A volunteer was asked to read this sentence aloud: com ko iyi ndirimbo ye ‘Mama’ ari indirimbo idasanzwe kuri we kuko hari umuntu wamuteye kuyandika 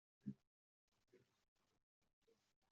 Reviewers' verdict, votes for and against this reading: rejected, 0, 2